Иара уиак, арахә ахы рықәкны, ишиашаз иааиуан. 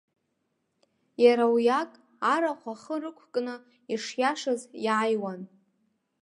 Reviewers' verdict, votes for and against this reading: accepted, 2, 0